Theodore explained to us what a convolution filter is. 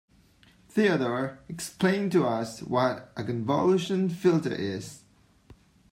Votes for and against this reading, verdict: 1, 2, rejected